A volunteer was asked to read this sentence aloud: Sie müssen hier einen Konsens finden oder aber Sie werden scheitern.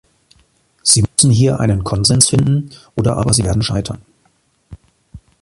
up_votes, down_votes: 1, 2